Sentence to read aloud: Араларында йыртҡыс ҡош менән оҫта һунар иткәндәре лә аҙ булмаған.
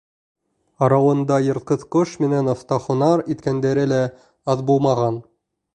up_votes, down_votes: 0, 2